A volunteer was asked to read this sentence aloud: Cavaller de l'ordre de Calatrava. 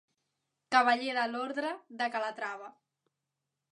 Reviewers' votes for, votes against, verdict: 3, 0, accepted